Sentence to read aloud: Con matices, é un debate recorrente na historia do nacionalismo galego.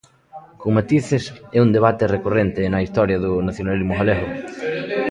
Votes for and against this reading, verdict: 2, 0, accepted